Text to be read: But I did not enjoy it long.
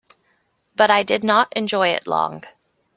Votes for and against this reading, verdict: 2, 0, accepted